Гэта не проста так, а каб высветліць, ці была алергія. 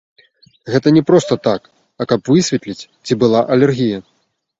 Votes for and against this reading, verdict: 1, 2, rejected